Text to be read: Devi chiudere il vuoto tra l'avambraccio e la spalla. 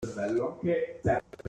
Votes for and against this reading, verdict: 0, 2, rejected